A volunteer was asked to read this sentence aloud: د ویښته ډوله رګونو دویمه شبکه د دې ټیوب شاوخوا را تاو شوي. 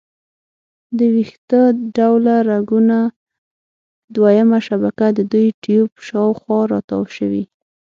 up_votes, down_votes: 0, 6